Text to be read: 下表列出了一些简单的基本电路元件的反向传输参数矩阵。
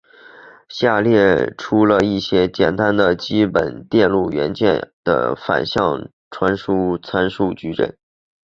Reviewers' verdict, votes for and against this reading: rejected, 2, 2